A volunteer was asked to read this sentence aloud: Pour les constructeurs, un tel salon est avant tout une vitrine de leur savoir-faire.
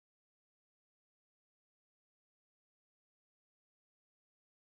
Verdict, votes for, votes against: rejected, 0, 2